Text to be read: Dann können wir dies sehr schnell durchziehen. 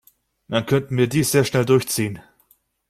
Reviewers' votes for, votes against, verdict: 1, 2, rejected